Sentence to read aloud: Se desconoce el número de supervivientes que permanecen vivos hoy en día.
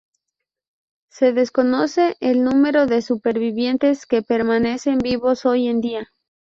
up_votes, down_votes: 2, 2